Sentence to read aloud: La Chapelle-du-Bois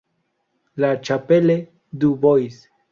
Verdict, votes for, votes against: rejected, 0, 2